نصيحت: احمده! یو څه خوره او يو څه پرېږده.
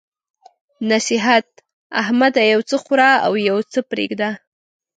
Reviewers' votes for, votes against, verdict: 2, 0, accepted